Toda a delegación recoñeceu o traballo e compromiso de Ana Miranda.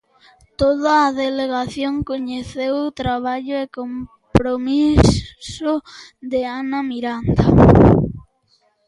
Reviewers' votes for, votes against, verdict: 0, 3, rejected